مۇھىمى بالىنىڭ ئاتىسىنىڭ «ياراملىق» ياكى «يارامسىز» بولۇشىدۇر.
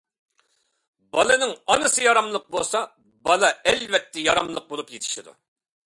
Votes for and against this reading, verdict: 0, 2, rejected